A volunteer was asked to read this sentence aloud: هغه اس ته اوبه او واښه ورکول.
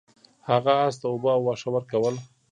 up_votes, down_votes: 0, 2